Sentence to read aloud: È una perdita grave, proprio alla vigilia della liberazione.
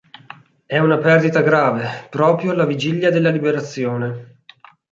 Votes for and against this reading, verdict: 4, 0, accepted